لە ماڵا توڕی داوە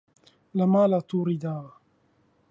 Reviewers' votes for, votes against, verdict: 2, 0, accepted